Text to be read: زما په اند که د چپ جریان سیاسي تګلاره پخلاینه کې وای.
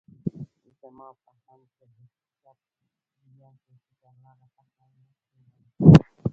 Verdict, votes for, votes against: rejected, 1, 2